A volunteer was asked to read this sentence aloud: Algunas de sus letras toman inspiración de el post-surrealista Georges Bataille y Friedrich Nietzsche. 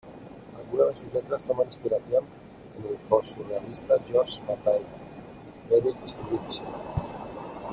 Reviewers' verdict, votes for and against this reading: rejected, 1, 2